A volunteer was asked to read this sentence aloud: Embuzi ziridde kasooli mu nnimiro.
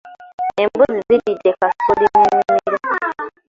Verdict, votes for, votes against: rejected, 0, 2